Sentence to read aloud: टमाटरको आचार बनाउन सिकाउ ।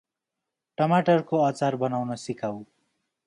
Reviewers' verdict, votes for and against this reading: accepted, 2, 0